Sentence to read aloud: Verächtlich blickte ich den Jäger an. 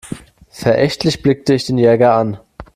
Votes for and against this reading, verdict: 2, 0, accepted